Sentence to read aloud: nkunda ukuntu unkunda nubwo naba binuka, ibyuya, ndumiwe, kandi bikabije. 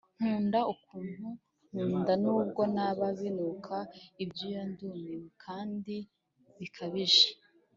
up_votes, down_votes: 1, 2